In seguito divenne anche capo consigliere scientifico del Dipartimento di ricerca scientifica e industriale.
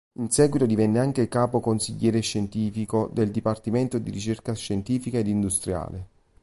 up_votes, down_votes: 0, 2